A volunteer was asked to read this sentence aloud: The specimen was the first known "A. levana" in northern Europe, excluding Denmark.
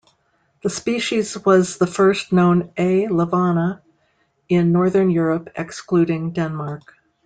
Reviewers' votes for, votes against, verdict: 0, 2, rejected